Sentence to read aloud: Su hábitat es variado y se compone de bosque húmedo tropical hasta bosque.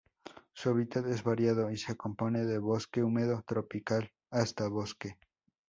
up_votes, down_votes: 4, 0